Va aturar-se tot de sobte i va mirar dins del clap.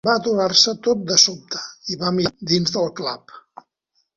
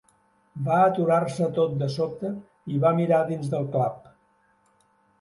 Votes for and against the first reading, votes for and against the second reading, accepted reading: 1, 2, 3, 0, second